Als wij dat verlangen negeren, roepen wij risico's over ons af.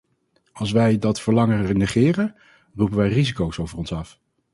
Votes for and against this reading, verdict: 2, 2, rejected